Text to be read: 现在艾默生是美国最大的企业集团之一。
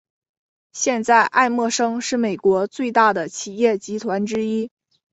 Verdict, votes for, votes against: accepted, 2, 0